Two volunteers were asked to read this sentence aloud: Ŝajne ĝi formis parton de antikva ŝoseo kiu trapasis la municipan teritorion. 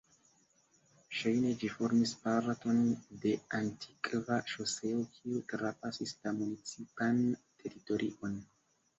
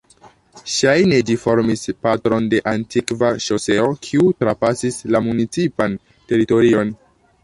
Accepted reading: first